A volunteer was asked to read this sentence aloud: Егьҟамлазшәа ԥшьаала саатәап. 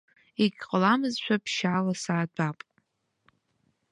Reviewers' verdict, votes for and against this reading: rejected, 2, 3